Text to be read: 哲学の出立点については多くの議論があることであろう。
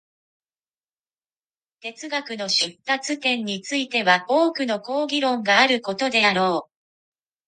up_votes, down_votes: 0, 2